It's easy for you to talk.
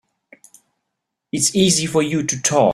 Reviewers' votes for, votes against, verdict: 1, 2, rejected